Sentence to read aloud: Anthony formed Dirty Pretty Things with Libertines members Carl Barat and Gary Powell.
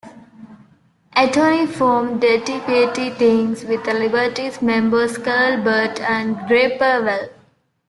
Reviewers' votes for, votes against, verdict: 2, 0, accepted